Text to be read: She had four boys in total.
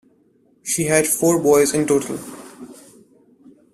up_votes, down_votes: 2, 0